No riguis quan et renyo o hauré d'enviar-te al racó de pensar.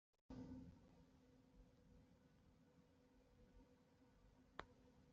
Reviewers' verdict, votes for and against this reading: rejected, 0, 2